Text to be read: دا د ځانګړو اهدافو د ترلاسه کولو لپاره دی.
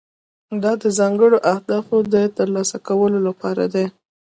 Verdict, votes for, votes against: accepted, 2, 0